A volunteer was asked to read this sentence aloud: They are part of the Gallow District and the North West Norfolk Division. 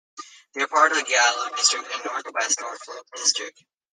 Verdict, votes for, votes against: rejected, 0, 2